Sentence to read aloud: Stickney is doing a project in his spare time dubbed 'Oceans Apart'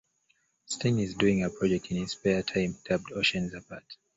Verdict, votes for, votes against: accepted, 2, 1